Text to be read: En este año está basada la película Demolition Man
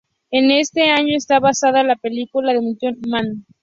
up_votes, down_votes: 2, 0